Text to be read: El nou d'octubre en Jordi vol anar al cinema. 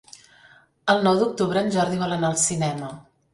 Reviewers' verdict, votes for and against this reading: accepted, 3, 0